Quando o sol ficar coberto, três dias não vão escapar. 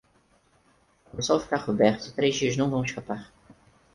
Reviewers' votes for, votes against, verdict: 2, 4, rejected